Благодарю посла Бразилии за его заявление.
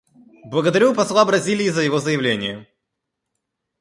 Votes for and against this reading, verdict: 0, 2, rejected